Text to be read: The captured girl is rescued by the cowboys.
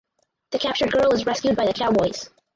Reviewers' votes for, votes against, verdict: 2, 2, rejected